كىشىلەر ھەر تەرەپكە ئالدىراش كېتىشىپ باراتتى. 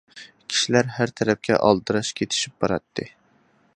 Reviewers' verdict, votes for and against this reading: accepted, 2, 0